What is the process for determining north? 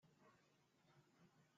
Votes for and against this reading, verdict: 0, 2, rejected